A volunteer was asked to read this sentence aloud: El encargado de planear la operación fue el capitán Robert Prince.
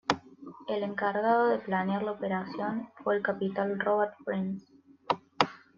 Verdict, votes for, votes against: accepted, 2, 0